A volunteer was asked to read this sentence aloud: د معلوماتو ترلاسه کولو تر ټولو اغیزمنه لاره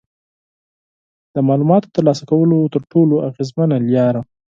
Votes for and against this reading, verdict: 4, 2, accepted